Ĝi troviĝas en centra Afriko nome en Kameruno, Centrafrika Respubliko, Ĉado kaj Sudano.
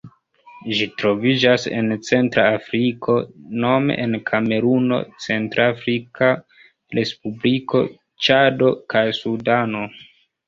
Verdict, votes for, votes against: accepted, 2, 0